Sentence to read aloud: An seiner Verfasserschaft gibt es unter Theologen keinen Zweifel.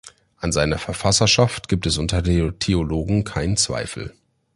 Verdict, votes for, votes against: rejected, 1, 2